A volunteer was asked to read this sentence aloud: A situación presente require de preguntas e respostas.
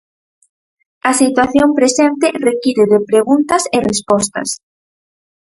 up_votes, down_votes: 4, 0